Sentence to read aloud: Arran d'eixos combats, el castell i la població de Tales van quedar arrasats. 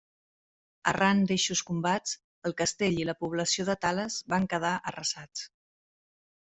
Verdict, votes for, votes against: accepted, 3, 0